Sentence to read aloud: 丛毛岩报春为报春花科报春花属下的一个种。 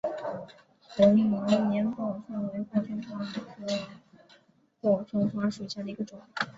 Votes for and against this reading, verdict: 3, 5, rejected